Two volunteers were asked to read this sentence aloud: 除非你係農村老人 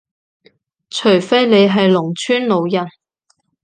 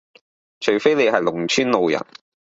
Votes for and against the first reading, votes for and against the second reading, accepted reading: 2, 0, 0, 2, first